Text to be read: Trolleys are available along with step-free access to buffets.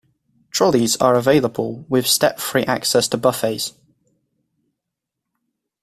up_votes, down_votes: 0, 2